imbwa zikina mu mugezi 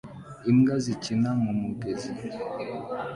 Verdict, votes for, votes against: accepted, 2, 0